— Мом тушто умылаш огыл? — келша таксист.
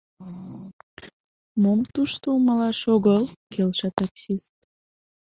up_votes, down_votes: 2, 0